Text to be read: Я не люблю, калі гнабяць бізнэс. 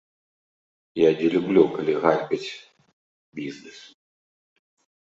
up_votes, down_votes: 0, 2